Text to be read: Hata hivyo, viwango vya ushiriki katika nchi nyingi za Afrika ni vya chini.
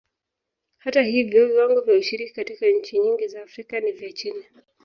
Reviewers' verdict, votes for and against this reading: rejected, 2, 2